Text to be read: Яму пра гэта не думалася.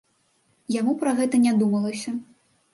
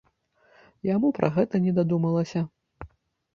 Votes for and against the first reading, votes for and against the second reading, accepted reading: 2, 0, 0, 2, first